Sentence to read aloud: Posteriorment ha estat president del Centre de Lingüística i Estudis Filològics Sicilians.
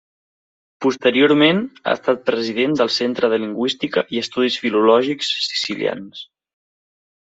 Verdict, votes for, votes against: accepted, 3, 0